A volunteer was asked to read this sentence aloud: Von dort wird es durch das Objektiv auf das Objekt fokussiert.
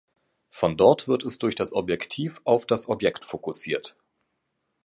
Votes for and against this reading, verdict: 2, 0, accepted